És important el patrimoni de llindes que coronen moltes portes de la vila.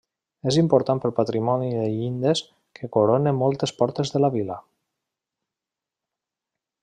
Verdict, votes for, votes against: rejected, 0, 2